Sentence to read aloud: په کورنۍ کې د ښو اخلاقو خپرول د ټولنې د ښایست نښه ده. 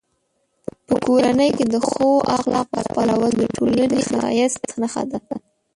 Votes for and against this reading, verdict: 1, 2, rejected